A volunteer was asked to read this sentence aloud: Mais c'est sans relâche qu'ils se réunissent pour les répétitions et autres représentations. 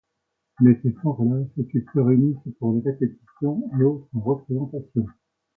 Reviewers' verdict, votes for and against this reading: accepted, 2, 1